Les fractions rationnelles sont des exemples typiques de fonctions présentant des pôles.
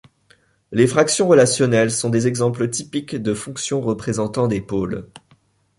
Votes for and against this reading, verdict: 0, 2, rejected